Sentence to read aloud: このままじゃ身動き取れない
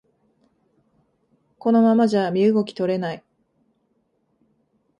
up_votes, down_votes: 2, 0